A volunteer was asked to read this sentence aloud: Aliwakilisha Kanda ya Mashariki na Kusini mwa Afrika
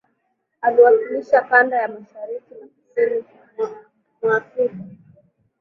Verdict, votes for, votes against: rejected, 1, 2